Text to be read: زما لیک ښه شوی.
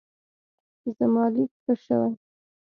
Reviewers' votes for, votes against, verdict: 2, 0, accepted